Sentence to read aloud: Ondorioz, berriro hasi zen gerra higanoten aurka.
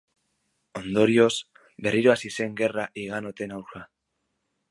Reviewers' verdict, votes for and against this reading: rejected, 1, 2